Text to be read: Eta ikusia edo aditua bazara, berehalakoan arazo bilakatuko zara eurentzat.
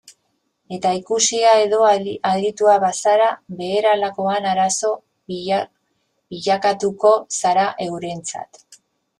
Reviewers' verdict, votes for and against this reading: rejected, 0, 4